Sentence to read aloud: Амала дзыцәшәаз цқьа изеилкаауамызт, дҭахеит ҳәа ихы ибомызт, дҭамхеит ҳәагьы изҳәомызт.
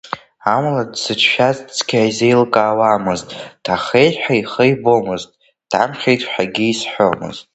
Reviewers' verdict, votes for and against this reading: accepted, 2, 0